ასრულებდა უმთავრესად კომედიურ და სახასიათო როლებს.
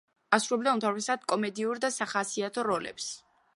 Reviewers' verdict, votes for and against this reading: rejected, 0, 2